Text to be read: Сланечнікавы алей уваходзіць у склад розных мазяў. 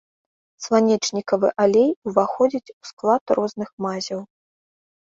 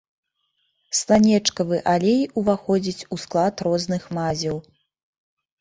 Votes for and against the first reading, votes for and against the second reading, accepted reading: 3, 0, 0, 2, first